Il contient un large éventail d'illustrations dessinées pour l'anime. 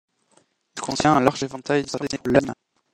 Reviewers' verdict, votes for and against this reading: rejected, 0, 2